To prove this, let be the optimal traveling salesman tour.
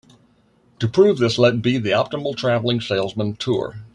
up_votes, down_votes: 2, 0